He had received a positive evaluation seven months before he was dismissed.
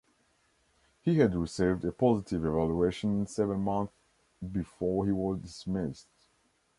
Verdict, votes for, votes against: rejected, 1, 2